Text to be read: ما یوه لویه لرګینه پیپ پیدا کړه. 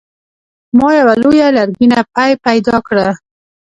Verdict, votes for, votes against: rejected, 1, 2